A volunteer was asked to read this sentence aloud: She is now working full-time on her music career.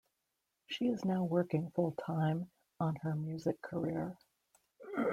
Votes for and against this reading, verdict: 2, 0, accepted